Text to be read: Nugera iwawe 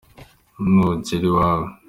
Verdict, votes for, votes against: accepted, 2, 0